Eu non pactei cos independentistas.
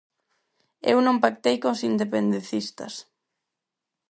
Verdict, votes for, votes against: rejected, 0, 4